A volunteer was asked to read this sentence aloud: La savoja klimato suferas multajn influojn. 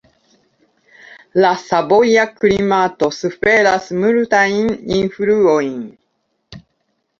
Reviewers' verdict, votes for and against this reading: rejected, 0, 2